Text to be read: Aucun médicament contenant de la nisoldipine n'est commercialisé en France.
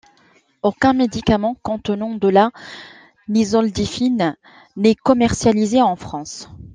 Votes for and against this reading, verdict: 0, 2, rejected